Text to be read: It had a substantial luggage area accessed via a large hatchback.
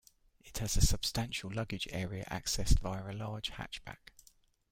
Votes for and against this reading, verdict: 0, 2, rejected